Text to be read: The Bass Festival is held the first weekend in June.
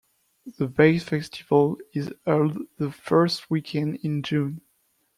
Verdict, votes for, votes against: rejected, 1, 2